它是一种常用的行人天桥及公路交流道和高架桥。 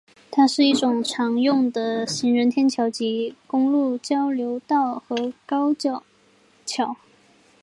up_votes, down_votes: 2, 0